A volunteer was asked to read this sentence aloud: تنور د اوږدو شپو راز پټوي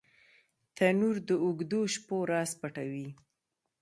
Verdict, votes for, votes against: accepted, 2, 0